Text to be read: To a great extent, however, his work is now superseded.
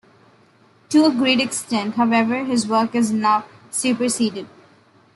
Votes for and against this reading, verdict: 2, 0, accepted